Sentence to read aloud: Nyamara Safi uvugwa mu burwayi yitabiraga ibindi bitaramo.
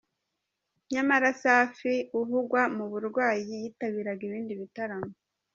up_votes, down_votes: 2, 0